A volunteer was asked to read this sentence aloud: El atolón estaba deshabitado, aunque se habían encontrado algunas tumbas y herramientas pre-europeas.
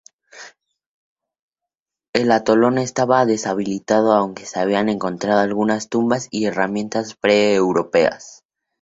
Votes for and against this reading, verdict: 2, 0, accepted